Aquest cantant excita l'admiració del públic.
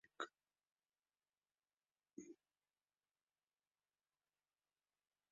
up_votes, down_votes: 0, 2